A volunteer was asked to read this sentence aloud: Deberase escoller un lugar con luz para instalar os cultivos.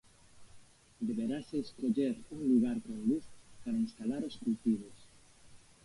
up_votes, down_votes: 1, 2